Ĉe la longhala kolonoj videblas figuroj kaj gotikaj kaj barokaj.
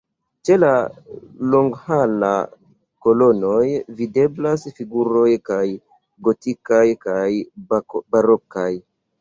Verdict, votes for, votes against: rejected, 1, 2